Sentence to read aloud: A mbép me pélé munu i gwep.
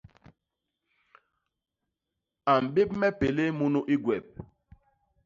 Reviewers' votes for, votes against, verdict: 2, 0, accepted